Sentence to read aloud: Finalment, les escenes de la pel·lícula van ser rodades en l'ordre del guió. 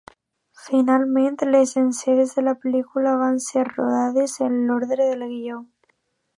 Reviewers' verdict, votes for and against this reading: rejected, 0, 2